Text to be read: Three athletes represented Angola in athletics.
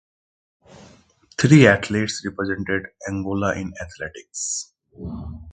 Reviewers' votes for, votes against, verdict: 1, 2, rejected